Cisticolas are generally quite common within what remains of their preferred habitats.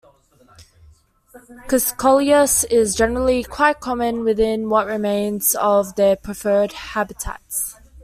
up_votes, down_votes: 0, 2